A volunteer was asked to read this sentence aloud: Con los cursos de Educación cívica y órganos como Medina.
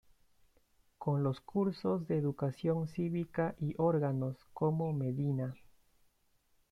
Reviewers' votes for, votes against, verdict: 2, 0, accepted